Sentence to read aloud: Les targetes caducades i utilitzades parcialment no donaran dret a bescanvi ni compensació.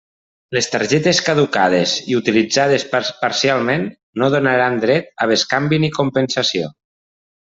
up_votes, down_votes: 1, 2